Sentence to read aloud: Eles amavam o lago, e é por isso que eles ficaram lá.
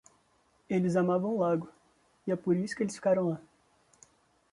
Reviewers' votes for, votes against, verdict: 2, 0, accepted